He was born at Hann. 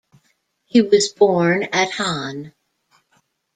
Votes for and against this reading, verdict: 2, 0, accepted